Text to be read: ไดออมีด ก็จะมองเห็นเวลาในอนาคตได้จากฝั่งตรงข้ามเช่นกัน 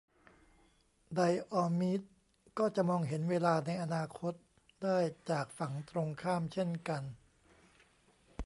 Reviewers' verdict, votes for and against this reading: rejected, 1, 2